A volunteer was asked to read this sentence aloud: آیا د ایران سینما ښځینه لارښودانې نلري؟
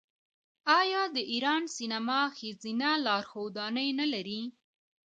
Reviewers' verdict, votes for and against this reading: rejected, 1, 2